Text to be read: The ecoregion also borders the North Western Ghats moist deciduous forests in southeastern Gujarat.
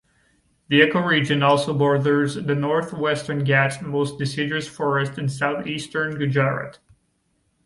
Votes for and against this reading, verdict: 2, 1, accepted